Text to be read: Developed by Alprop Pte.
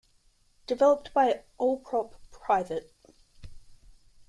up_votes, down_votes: 1, 2